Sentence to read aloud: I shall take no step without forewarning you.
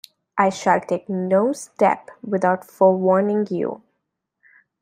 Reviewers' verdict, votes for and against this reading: accepted, 2, 0